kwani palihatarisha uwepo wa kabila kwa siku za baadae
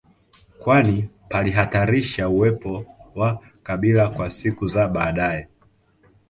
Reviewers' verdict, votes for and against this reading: accepted, 2, 0